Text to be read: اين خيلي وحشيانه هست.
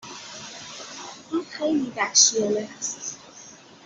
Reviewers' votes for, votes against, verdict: 2, 1, accepted